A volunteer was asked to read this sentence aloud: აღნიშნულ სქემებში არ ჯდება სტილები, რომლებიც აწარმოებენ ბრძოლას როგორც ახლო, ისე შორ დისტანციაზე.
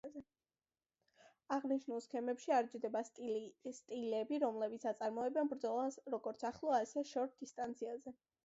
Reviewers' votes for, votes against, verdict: 0, 2, rejected